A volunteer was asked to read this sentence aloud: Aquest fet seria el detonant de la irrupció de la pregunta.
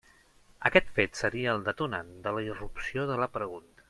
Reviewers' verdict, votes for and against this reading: accepted, 6, 0